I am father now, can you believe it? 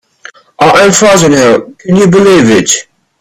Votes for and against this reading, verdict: 1, 2, rejected